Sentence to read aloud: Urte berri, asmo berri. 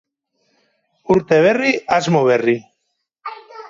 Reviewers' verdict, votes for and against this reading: rejected, 2, 2